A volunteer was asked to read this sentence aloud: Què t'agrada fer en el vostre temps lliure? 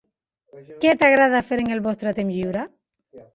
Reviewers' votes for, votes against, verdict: 2, 0, accepted